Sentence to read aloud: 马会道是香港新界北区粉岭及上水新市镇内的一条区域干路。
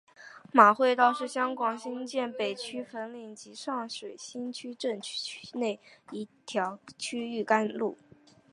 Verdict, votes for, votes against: rejected, 0, 2